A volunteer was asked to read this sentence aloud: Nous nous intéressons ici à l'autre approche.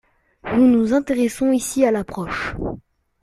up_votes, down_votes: 1, 2